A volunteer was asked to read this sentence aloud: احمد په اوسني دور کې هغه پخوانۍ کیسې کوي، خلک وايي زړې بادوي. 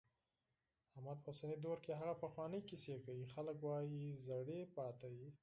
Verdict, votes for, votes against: rejected, 0, 4